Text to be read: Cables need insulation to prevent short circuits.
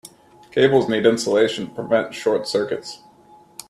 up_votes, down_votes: 2, 0